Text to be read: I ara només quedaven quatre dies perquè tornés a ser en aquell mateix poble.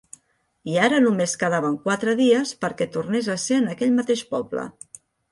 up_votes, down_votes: 2, 0